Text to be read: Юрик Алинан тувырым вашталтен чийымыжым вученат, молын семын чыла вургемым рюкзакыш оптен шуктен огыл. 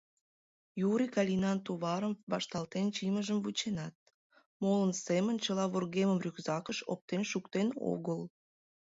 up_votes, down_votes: 1, 2